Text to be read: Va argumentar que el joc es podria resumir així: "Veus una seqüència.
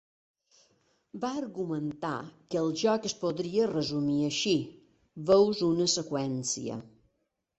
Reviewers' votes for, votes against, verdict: 3, 0, accepted